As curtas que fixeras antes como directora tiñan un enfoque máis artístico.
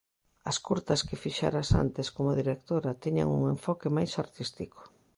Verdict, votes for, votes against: accepted, 2, 0